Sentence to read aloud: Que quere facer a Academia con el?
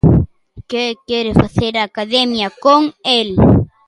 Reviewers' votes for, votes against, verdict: 1, 2, rejected